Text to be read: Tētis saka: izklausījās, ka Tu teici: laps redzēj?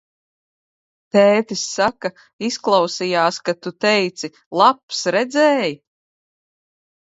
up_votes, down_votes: 2, 0